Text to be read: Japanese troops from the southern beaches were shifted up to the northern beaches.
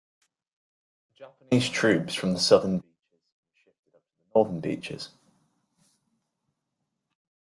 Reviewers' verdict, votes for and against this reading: rejected, 0, 2